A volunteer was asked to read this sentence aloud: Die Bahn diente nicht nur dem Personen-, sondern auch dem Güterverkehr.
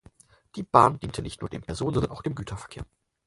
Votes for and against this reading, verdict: 4, 2, accepted